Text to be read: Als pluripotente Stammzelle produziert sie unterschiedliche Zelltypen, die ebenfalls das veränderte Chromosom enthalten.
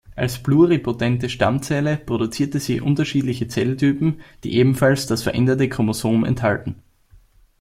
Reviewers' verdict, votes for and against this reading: rejected, 1, 2